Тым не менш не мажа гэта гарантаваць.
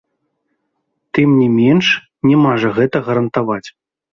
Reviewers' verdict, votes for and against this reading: accepted, 2, 0